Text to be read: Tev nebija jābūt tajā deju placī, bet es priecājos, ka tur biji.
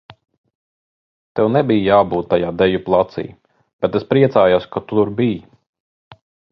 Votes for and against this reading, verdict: 3, 0, accepted